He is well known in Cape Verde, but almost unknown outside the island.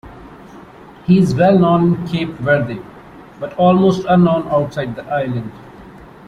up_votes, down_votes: 2, 0